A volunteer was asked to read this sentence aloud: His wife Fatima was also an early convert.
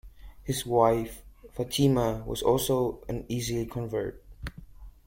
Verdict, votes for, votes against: rejected, 0, 2